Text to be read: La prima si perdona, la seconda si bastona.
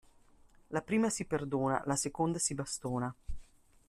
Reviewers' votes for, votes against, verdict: 2, 0, accepted